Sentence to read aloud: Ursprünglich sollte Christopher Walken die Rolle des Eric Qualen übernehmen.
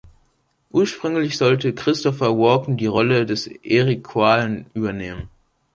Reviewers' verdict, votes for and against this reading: accepted, 3, 1